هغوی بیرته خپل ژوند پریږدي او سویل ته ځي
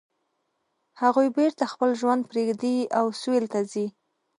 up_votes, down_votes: 2, 0